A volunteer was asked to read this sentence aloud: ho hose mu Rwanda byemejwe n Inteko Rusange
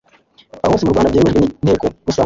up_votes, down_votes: 1, 2